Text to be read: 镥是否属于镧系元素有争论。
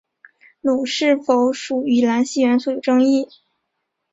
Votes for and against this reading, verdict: 2, 2, rejected